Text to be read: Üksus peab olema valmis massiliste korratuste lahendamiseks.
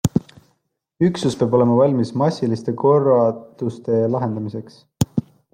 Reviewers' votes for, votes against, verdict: 0, 2, rejected